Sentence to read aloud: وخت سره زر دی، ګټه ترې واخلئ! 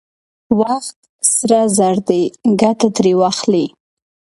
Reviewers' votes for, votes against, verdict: 3, 0, accepted